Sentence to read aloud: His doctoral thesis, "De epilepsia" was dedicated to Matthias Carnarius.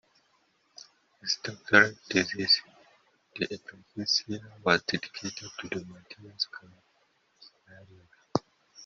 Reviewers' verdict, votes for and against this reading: rejected, 1, 2